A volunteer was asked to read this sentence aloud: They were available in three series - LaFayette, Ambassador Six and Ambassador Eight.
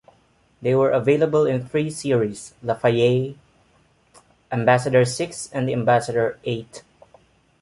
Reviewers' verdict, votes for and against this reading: accepted, 2, 1